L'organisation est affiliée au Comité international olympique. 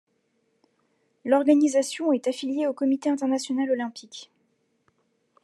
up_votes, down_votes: 2, 0